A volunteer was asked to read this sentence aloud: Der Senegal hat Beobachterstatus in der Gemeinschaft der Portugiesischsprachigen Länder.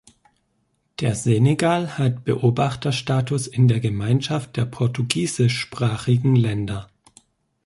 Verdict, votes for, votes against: accepted, 2, 0